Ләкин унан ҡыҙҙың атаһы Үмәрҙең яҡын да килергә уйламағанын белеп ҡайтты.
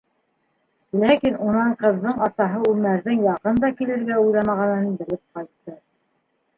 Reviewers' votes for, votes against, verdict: 0, 2, rejected